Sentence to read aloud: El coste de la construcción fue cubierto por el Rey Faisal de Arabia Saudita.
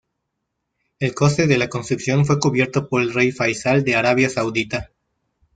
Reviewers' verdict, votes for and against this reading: accepted, 2, 1